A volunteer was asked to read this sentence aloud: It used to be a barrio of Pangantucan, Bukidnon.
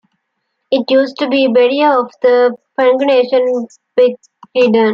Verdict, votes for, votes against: rejected, 0, 2